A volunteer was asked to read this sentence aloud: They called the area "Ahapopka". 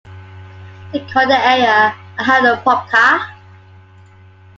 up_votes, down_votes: 2, 1